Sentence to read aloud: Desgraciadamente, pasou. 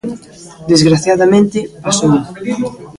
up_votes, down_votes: 1, 2